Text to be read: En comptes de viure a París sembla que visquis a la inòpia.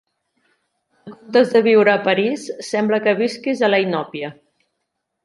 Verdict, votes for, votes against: rejected, 0, 2